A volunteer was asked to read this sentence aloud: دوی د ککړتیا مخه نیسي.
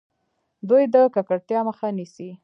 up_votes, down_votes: 2, 1